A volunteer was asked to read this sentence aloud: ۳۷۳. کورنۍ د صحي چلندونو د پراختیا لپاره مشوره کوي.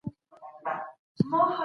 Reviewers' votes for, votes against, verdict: 0, 2, rejected